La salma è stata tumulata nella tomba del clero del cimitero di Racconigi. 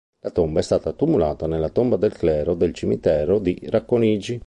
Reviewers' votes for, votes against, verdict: 0, 2, rejected